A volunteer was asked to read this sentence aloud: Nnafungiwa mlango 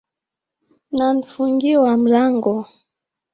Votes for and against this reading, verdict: 1, 2, rejected